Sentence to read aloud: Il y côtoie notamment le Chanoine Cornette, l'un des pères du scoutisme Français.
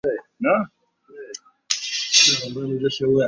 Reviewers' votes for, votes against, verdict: 0, 2, rejected